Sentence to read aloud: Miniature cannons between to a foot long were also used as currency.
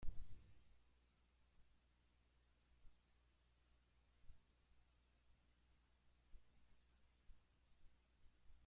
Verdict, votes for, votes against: rejected, 0, 2